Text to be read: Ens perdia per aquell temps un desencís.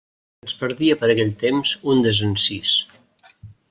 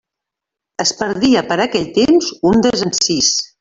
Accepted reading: first